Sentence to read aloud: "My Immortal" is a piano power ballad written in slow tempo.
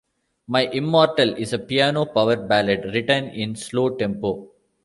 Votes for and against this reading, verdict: 2, 0, accepted